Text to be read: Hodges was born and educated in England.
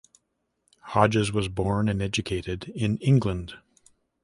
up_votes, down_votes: 2, 0